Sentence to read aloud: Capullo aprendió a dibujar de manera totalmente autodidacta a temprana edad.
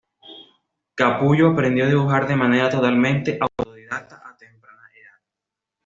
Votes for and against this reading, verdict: 2, 0, accepted